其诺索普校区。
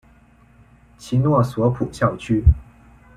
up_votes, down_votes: 2, 0